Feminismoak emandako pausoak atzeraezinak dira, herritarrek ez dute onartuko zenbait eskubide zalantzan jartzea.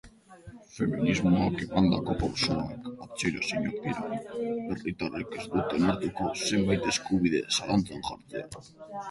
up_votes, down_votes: 0, 2